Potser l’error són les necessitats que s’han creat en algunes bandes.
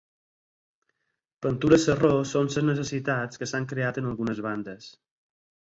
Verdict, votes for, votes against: rejected, 4, 6